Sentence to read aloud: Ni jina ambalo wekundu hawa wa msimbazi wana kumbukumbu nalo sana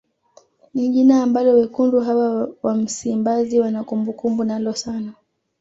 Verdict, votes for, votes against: accepted, 2, 0